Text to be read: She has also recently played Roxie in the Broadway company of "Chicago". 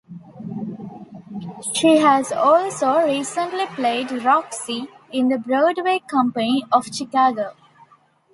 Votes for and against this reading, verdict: 2, 0, accepted